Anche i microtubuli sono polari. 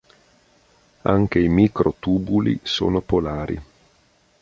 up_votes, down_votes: 2, 0